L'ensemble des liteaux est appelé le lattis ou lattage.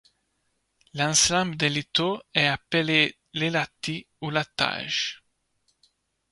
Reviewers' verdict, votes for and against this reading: accepted, 2, 1